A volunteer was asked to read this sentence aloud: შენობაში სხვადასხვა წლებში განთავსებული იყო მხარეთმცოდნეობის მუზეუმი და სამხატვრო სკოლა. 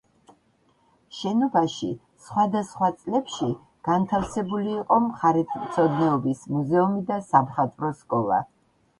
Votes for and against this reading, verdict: 2, 1, accepted